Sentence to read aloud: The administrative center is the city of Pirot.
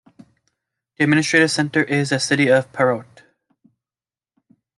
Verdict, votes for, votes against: rejected, 0, 2